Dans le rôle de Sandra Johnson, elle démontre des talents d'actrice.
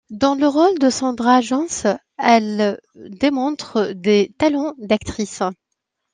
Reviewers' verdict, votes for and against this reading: accepted, 2, 0